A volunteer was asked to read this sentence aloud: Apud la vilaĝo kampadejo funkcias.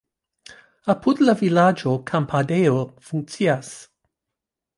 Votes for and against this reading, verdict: 3, 1, accepted